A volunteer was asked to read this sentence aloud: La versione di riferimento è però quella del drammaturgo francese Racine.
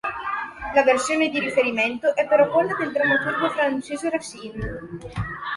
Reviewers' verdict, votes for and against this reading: accepted, 2, 1